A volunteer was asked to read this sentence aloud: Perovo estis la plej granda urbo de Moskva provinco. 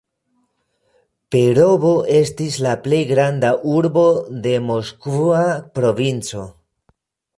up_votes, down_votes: 1, 2